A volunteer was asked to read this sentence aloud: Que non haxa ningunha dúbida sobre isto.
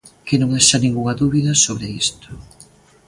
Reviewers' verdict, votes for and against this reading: accepted, 2, 0